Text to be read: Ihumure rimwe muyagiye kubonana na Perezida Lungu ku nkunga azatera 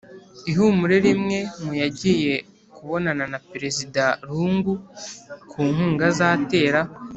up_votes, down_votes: 2, 0